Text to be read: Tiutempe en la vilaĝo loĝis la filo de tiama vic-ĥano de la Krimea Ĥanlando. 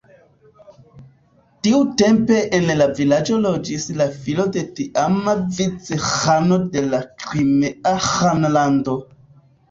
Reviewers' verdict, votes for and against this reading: rejected, 1, 2